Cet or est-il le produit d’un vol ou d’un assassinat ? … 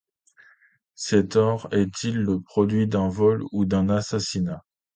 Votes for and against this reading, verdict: 2, 0, accepted